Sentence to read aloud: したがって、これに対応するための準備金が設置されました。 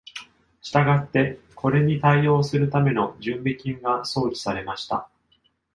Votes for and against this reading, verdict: 1, 2, rejected